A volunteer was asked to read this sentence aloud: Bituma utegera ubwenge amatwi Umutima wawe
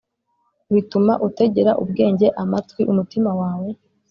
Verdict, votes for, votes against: accepted, 2, 0